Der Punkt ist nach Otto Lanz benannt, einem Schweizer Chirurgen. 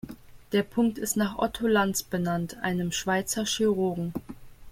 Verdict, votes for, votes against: accepted, 2, 0